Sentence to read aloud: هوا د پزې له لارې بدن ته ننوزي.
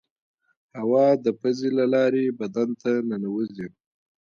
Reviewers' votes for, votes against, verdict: 2, 1, accepted